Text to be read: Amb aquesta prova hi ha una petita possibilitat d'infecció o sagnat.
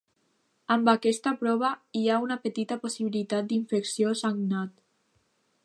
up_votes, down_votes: 0, 2